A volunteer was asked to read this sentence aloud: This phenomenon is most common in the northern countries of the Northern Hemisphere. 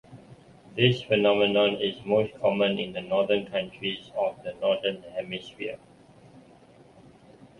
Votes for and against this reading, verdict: 2, 0, accepted